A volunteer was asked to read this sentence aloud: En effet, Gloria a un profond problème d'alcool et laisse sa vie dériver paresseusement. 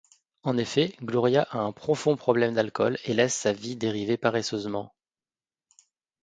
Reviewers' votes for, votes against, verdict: 2, 0, accepted